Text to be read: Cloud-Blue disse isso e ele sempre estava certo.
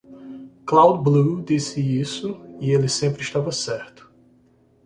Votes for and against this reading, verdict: 2, 0, accepted